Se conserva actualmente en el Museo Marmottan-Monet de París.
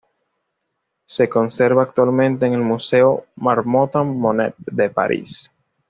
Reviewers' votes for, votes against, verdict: 2, 0, accepted